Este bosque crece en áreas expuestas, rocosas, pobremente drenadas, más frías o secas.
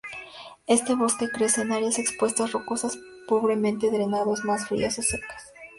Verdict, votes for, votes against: rejected, 0, 2